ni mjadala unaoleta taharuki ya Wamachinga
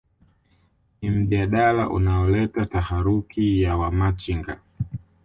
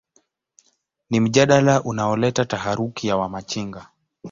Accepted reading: second